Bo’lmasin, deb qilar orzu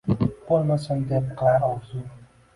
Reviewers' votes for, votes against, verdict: 1, 2, rejected